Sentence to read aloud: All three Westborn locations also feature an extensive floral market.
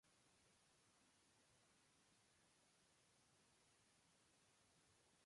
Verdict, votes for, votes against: rejected, 0, 2